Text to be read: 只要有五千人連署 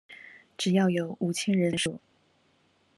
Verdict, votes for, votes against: rejected, 1, 2